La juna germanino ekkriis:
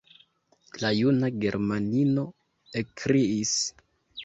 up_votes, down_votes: 0, 2